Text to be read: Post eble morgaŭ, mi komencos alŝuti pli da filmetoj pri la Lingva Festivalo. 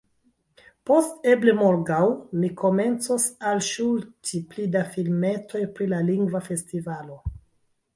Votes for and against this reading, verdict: 2, 1, accepted